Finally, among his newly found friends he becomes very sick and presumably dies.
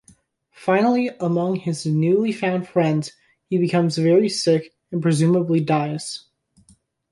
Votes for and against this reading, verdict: 2, 0, accepted